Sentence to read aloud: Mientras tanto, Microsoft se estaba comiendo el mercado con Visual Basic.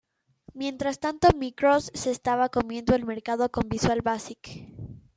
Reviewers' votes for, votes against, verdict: 0, 2, rejected